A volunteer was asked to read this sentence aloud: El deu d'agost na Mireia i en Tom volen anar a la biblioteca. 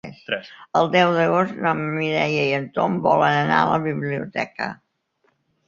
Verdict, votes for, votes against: rejected, 0, 2